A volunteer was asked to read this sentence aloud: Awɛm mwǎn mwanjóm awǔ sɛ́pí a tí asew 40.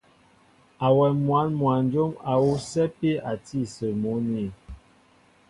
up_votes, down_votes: 0, 2